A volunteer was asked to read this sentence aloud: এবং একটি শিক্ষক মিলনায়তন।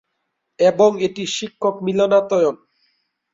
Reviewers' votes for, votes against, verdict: 0, 4, rejected